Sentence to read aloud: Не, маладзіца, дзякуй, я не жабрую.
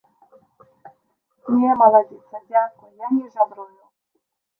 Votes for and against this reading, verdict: 1, 2, rejected